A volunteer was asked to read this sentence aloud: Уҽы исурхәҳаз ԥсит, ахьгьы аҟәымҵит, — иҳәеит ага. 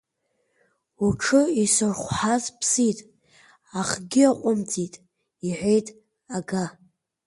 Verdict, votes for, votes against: rejected, 1, 2